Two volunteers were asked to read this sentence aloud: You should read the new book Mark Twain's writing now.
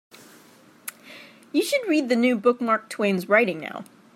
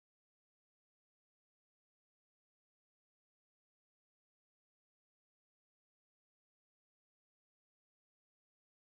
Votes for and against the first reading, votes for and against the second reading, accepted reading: 3, 0, 0, 2, first